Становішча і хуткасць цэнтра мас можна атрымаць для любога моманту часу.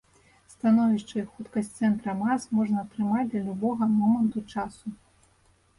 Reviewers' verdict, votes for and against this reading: accepted, 2, 0